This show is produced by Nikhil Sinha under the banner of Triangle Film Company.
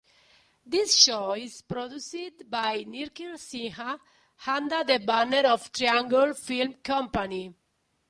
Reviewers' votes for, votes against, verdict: 1, 2, rejected